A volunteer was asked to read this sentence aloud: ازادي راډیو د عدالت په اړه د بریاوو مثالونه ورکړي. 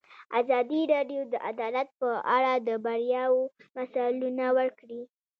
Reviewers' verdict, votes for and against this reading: rejected, 0, 2